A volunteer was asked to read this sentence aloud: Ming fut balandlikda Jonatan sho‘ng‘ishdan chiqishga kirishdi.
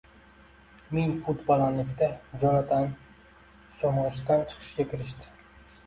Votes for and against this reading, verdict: 2, 0, accepted